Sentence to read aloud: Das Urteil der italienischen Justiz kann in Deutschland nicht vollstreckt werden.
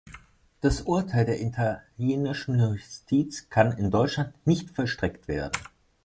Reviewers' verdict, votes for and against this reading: rejected, 0, 2